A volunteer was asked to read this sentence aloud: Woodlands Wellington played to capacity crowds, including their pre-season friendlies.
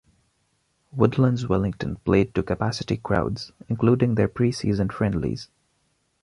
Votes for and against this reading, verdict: 2, 0, accepted